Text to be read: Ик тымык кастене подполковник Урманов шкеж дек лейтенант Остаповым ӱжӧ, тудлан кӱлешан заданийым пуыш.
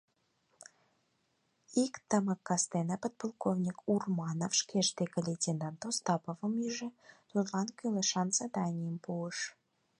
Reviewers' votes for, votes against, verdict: 4, 0, accepted